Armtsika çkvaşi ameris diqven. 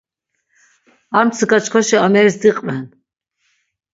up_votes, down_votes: 6, 0